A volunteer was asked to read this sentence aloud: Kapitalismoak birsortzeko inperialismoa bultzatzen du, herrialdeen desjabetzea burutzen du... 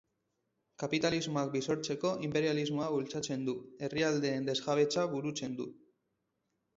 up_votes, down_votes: 2, 2